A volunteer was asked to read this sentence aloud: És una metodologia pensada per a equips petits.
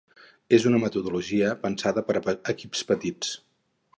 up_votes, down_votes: 2, 2